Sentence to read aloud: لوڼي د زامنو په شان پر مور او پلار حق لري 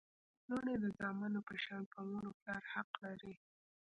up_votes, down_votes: 1, 2